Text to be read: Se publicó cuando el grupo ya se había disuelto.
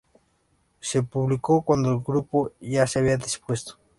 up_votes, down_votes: 0, 2